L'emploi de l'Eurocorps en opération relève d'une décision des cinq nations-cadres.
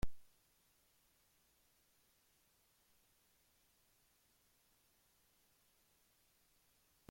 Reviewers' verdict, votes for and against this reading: rejected, 0, 2